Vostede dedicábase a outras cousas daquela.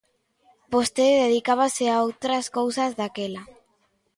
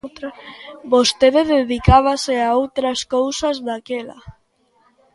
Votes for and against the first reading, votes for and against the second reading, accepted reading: 2, 0, 0, 2, first